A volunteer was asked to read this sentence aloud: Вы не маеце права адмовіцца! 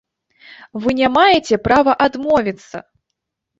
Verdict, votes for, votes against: rejected, 1, 2